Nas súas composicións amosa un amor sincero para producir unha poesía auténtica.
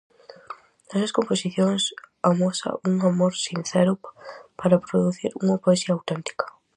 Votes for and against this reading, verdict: 0, 4, rejected